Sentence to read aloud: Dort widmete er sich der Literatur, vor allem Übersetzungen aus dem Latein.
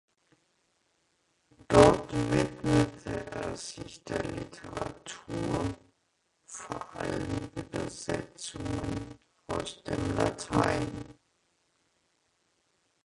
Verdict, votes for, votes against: rejected, 0, 2